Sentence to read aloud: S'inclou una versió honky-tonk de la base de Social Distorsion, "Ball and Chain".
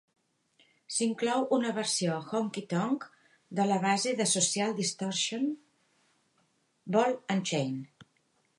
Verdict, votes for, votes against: accepted, 3, 0